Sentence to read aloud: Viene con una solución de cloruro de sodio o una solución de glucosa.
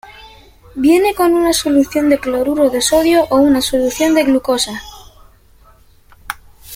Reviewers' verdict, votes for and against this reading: accepted, 2, 0